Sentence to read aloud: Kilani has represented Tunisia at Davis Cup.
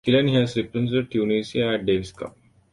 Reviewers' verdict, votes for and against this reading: rejected, 0, 2